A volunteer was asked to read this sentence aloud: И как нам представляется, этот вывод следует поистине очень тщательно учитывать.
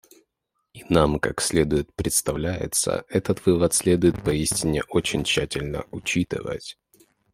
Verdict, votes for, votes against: rejected, 0, 2